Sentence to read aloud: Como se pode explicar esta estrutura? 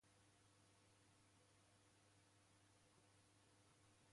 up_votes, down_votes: 0, 2